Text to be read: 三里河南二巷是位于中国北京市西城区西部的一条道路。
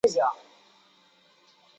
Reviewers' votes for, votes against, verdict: 2, 0, accepted